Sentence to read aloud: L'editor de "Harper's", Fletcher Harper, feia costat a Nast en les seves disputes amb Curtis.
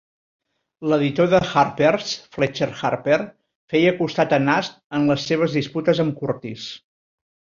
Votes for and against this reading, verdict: 1, 2, rejected